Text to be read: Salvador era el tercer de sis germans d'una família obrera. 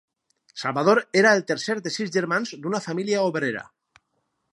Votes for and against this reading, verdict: 2, 2, rejected